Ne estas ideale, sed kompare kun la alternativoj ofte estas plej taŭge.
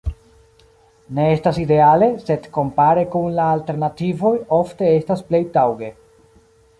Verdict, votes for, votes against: rejected, 1, 2